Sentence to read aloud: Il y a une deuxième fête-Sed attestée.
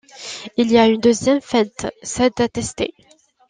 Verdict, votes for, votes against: rejected, 1, 2